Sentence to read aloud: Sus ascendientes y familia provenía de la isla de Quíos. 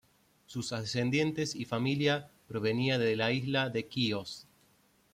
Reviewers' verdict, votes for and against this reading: accepted, 2, 0